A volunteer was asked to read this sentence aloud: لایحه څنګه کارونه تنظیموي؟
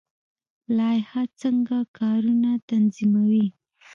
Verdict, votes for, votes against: accepted, 2, 1